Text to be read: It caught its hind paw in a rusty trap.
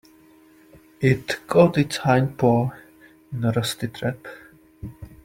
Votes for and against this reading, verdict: 2, 0, accepted